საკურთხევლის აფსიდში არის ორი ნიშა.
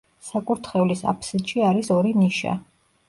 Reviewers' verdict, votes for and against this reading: accepted, 2, 0